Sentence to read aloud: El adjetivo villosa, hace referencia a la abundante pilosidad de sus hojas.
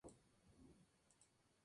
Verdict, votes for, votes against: rejected, 0, 2